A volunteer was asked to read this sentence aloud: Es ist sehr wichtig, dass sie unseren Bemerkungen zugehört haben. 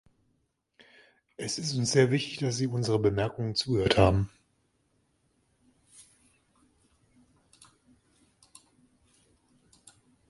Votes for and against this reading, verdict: 1, 2, rejected